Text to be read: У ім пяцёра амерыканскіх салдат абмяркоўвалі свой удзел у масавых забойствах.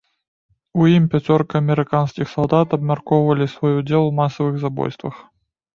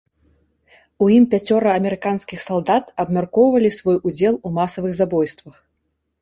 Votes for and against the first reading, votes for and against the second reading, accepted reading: 0, 2, 2, 0, second